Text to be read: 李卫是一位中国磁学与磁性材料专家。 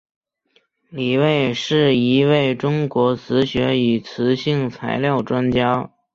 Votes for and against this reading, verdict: 2, 0, accepted